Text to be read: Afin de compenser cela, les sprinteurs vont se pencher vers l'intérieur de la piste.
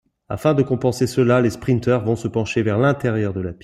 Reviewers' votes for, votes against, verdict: 0, 2, rejected